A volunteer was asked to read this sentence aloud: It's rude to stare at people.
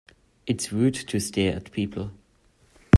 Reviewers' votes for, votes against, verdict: 2, 0, accepted